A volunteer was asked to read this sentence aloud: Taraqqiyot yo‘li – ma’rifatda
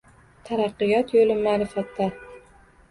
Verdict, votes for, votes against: rejected, 1, 2